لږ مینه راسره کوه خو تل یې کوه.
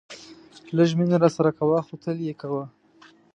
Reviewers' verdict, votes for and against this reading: accepted, 2, 1